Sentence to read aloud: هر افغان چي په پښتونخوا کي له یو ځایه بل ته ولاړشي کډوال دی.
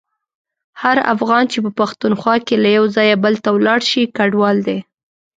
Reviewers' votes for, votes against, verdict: 2, 0, accepted